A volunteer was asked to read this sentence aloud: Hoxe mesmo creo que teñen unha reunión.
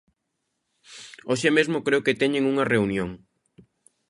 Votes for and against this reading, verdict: 2, 0, accepted